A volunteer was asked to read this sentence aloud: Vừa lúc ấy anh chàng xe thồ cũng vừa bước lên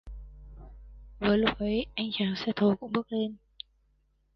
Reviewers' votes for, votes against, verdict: 0, 2, rejected